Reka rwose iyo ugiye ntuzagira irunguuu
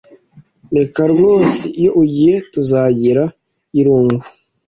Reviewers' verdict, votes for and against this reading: accepted, 2, 0